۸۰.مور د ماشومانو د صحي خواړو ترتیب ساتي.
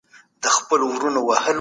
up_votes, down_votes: 0, 2